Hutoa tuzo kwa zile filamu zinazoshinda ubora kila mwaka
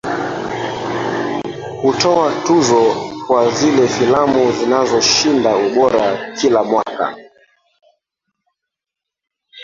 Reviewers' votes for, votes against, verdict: 1, 2, rejected